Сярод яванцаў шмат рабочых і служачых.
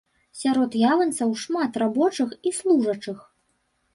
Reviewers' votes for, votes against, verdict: 1, 3, rejected